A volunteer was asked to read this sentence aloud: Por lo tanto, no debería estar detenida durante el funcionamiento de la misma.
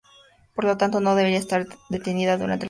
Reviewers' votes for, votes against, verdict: 0, 2, rejected